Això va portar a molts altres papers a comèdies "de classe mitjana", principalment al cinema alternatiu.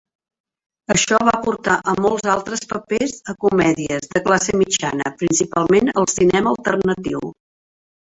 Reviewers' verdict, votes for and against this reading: rejected, 0, 2